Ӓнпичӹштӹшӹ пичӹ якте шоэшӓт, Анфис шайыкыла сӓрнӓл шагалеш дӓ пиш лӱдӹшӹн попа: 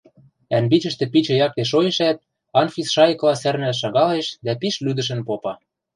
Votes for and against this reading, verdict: 0, 2, rejected